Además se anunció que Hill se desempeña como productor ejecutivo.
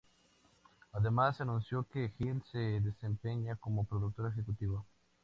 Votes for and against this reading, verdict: 2, 0, accepted